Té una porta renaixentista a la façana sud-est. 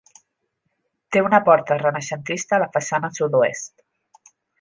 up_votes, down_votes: 0, 2